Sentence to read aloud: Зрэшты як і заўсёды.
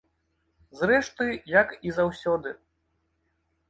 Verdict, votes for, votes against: accepted, 2, 0